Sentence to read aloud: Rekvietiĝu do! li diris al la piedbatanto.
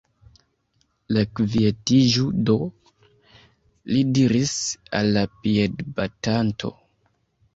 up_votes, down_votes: 1, 2